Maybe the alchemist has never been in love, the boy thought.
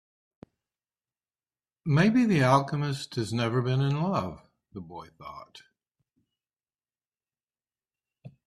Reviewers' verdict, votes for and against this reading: accepted, 2, 1